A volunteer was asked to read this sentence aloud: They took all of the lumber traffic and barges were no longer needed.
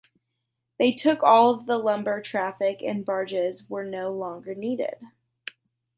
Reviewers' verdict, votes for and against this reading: accepted, 2, 1